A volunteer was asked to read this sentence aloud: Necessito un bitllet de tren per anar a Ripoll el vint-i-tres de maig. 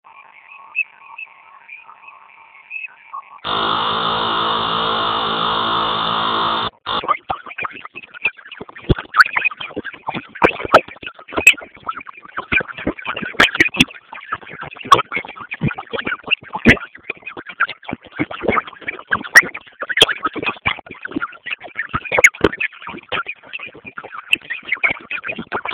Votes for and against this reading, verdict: 0, 4, rejected